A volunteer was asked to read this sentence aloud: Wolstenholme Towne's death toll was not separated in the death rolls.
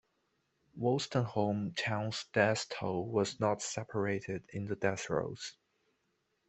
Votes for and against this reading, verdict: 2, 1, accepted